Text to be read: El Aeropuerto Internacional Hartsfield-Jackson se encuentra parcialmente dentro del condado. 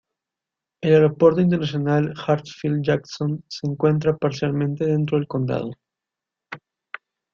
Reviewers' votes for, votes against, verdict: 0, 2, rejected